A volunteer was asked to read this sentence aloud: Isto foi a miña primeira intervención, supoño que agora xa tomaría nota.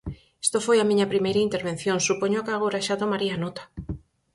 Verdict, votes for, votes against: accepted, 4, 0